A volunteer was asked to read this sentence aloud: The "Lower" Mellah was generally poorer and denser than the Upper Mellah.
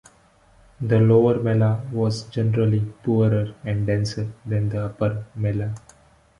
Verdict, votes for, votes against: accepted, 2, 0